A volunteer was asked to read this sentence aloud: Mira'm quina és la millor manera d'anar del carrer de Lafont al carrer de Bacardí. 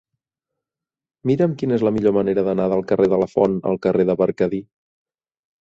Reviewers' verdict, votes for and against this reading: rejected, 0, 2